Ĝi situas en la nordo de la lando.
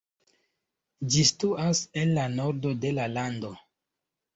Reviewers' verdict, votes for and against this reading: rejected, 1, 2